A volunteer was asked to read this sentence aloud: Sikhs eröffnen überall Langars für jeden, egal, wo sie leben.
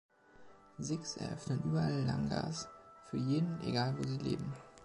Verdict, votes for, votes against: accepted, 2, 1